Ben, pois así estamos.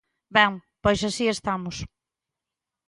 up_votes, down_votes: 2, 0